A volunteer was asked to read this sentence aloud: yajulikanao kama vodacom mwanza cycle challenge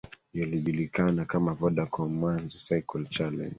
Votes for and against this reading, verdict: 0, 3, rejected